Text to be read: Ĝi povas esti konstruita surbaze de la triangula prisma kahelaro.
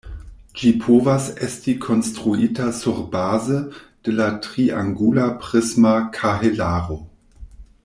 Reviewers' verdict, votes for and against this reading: rejected, 1, 2